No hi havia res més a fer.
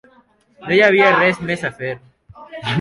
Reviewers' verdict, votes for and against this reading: accepted, 3, 0